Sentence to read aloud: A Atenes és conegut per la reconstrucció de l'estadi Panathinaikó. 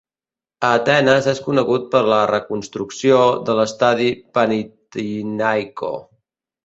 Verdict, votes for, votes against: rejected, 1, 2